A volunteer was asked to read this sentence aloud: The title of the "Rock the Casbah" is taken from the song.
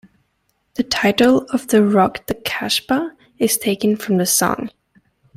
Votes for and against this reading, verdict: 2, 0, accepted